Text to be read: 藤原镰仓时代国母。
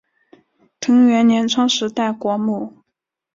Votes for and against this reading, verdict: 2, 0, accepted